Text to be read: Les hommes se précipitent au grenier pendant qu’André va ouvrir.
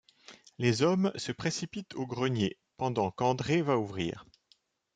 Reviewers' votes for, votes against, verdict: 2, 0, accepted